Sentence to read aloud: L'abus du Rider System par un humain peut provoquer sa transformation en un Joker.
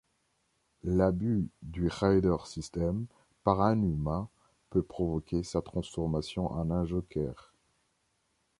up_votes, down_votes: 2, 0